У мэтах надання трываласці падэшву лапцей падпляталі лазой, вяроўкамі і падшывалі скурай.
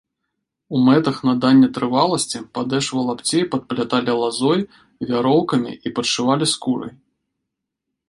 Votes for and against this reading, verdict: 2, 0, accepted